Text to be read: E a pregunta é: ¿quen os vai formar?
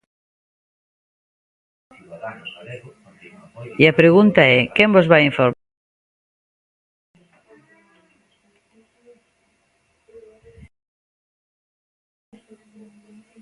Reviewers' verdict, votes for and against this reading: rejected, 0, 2